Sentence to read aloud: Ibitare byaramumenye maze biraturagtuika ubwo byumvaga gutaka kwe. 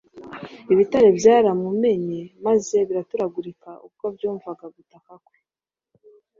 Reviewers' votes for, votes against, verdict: 2, 0, accepted